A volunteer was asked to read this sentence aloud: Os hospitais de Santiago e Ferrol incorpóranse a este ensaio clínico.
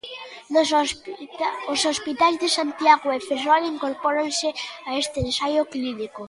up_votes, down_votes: 0, 2